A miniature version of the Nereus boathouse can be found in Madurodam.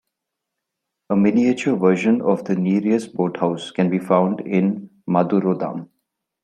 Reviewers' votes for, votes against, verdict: 0, 2, rejected